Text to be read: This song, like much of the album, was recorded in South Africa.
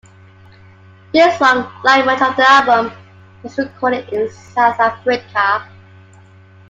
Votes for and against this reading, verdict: 2, 1, accepted